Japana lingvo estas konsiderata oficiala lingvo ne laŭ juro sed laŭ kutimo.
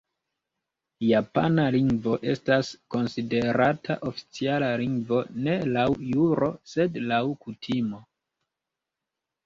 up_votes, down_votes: 0, 2